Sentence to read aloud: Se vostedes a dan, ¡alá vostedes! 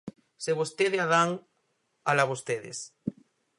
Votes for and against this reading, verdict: 0, 4, rejected